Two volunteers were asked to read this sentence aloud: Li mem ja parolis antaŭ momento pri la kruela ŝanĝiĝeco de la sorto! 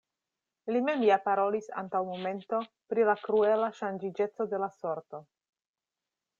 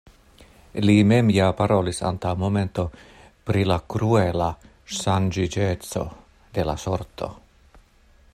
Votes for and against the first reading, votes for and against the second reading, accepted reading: 2, 0, 0, 2, first